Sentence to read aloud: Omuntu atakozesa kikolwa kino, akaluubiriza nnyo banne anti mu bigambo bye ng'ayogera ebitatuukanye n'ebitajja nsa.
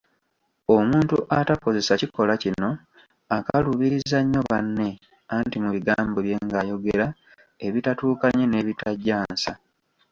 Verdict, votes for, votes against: accepted, 2, 1